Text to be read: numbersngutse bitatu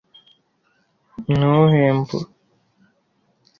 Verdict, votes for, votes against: rejected, 0, 2